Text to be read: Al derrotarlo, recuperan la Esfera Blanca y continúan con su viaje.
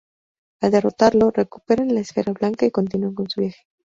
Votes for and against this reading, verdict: 0, 2, rejected